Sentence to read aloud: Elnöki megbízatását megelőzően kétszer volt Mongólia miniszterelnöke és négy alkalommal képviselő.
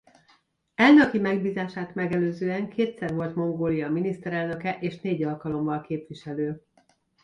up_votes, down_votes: 1, 2